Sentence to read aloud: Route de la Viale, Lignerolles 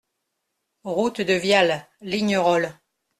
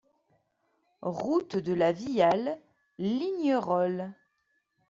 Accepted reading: second